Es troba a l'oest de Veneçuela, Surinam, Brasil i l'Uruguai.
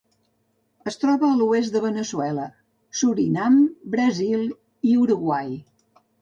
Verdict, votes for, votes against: rejected, 0, 3